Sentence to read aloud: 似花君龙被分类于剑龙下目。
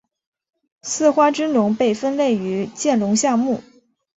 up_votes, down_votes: 2, 0